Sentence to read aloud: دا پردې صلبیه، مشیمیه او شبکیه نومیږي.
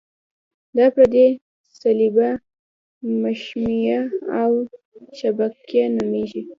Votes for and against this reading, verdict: 2, 1, accepted